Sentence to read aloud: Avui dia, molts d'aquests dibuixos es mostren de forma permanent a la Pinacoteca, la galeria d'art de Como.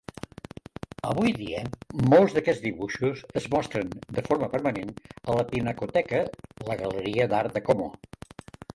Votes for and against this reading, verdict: 0, 3, rejected